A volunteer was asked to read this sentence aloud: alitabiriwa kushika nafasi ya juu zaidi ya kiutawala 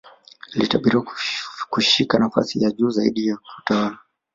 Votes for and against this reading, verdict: 2, 0, accepted